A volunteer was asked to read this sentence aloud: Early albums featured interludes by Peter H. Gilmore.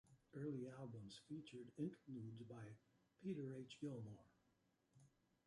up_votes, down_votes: 2, 0